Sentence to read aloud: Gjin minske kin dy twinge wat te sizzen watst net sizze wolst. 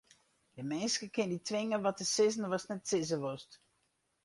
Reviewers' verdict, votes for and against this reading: rejected, 0, 2